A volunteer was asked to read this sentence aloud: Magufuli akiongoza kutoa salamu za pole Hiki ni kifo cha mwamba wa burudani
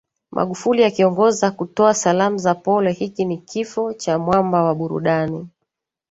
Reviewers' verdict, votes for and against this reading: accepted, 3, 1